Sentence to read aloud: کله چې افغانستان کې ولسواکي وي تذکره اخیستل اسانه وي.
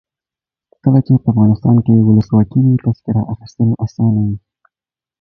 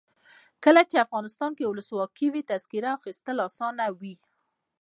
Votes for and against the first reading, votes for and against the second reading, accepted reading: 2, 0, 1, 2, first